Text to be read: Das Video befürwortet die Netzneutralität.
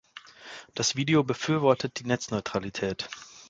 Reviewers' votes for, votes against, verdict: 2, 0, accepted